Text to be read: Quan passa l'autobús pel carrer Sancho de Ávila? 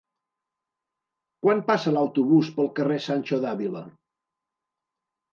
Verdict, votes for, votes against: rejected, 0, 2